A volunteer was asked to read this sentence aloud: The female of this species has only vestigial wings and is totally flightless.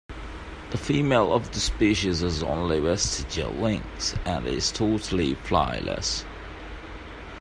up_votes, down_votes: 2, 0